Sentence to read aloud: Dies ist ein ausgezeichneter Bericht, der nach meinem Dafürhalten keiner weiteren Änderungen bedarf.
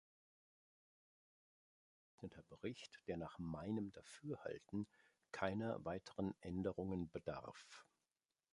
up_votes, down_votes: 0, 2